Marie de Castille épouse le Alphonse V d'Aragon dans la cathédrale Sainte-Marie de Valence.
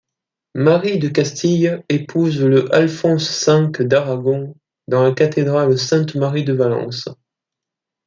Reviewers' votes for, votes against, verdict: 1, 2, rejected